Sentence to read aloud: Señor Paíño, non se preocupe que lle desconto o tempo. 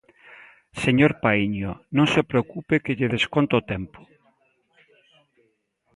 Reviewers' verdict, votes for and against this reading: accepted, 2, 0